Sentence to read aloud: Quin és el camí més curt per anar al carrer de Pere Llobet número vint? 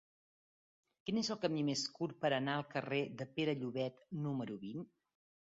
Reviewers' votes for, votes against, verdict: 2, 0, accepted